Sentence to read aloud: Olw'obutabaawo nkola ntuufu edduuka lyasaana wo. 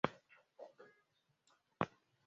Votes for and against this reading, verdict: 0, 3, rejected